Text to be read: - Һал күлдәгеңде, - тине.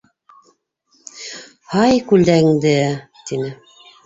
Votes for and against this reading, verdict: 2, 3, rejected